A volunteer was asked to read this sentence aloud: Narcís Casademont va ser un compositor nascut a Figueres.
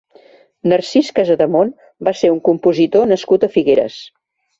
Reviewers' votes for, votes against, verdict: 3, 0, accepted